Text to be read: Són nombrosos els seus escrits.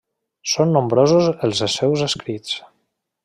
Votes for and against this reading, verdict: 0, 2, rejected